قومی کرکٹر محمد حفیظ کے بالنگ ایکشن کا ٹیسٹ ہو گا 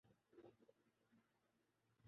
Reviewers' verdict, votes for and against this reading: rejected, 0, 2